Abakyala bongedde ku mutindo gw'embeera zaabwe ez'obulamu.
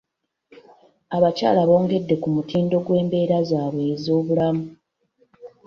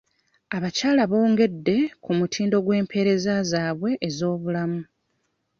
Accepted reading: first